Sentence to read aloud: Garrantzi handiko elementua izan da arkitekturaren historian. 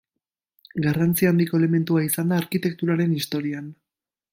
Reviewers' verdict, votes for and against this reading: accepted, 2, 0